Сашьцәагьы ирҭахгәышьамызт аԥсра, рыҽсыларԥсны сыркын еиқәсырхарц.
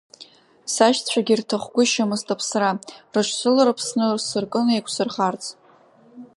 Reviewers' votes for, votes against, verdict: 2, 0, accepted